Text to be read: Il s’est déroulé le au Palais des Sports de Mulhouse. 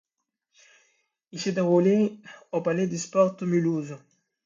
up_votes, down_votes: 1, 2